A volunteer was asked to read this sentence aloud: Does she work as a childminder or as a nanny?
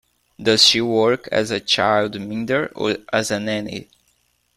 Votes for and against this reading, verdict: 1, 2, rejected